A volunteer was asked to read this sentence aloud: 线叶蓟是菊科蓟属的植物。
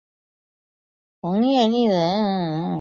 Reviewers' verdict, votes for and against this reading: rejected, 0, 2